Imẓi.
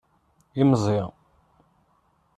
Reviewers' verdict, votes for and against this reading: accepted, 2, 0